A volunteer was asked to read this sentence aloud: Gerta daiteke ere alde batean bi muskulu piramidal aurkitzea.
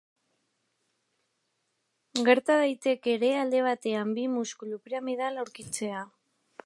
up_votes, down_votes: 2, 1